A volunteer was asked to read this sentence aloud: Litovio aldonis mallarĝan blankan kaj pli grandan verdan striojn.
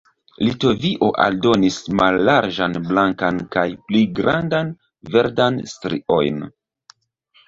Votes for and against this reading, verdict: 2, 0, accepted